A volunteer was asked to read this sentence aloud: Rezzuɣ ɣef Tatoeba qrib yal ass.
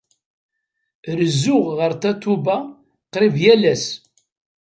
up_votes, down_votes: 2, 0